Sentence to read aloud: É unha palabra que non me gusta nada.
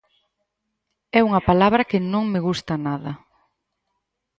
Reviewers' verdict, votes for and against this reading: accepted, 4, 0